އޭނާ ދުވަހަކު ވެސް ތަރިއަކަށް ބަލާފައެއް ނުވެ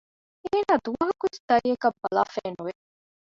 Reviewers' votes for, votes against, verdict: 0, 2, rejected